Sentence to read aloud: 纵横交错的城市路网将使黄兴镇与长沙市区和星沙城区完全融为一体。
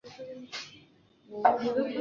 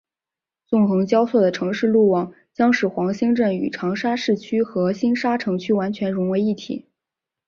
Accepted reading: second